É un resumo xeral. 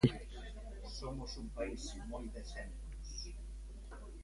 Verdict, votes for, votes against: rejected, 0, 2